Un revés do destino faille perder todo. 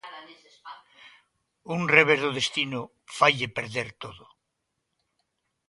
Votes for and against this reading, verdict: 2, 0, accepted